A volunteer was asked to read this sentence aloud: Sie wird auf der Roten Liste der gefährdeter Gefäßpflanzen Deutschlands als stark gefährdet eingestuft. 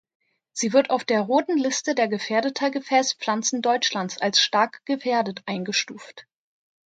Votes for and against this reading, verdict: 2, 0, accepted